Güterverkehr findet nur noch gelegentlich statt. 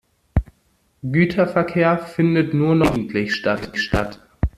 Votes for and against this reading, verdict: 0, 2, rejected